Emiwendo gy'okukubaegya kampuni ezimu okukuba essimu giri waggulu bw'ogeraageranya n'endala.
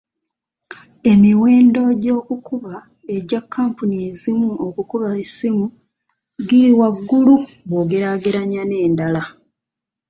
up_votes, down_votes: 1, 2